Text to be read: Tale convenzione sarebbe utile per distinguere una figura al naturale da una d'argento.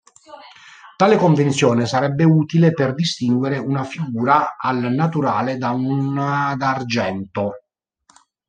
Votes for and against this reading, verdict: 0, 2, rejected